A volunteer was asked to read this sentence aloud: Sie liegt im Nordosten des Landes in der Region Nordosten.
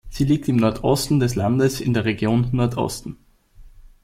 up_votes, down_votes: 2, 0